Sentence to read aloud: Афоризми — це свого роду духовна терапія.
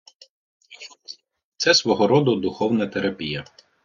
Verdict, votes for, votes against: rejected, 0, 2